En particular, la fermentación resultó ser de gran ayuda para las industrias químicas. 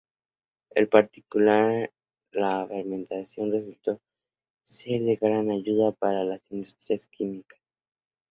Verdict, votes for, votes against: rejected, 0, 2